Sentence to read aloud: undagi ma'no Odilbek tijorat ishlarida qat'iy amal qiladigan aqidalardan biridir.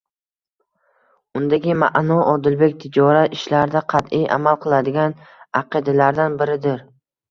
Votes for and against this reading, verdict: 1, 2, rejected